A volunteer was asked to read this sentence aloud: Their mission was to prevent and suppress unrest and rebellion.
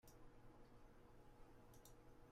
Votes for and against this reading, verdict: 0, 2, rejected